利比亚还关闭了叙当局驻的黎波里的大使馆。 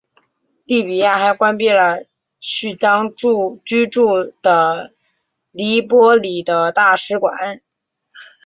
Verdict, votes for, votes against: rejected, 0, 3